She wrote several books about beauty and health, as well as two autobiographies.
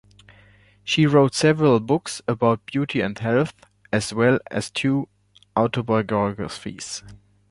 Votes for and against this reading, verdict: 0, 2, rejected